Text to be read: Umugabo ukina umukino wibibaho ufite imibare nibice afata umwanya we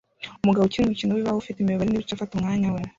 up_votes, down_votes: 0, 2